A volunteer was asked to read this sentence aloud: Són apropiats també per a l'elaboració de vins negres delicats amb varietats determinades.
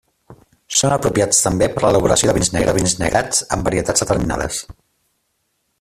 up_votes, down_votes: 0, 2